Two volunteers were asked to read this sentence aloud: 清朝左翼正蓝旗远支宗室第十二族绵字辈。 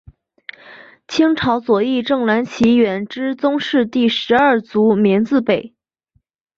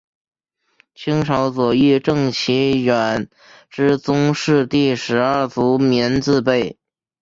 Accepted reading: first